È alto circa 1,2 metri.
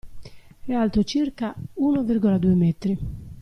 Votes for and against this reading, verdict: 0, 2, rejected